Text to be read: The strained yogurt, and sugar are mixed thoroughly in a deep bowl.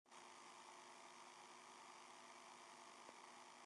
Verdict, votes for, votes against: rejected, 0, 2